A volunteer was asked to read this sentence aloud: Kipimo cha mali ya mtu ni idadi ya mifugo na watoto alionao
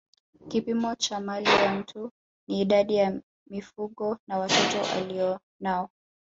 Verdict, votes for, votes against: accepted, 2, 0